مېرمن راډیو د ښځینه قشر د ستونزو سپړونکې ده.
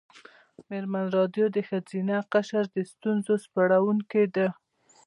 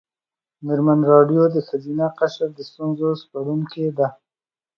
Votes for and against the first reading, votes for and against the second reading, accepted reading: 2, 0, 0, 2, first